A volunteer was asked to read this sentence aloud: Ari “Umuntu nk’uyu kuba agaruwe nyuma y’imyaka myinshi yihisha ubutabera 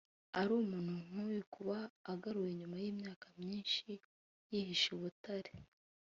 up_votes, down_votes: 1, 2